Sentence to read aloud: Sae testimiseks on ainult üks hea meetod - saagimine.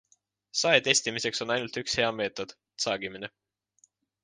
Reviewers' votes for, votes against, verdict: 2, 0, accepted